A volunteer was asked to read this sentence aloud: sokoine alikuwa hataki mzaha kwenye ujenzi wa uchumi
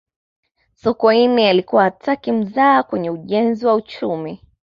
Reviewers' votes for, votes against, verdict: 2, 0, accepted